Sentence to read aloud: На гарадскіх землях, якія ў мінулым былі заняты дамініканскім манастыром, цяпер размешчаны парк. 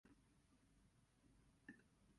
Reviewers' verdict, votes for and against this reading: rejected, 1, 2